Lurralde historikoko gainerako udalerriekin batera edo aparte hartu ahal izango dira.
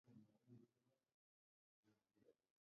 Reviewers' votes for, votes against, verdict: 2, 2, rejected